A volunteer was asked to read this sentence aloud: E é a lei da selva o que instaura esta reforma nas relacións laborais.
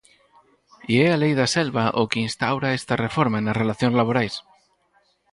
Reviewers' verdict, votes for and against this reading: rejected, 0, 4